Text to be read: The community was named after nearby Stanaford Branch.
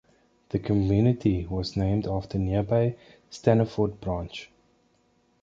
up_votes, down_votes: 1, 2